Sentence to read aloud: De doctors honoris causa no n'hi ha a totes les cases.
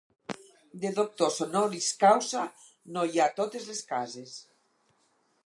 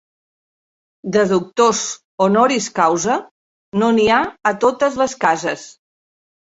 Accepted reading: second